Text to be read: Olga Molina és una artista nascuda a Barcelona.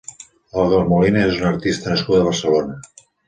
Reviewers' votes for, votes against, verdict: 2, 1, accepted